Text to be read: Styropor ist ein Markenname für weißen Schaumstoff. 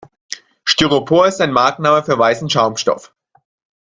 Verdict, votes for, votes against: rejected, 1, 2